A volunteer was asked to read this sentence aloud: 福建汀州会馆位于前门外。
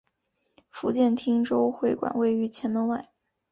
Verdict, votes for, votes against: accepted, 2, 0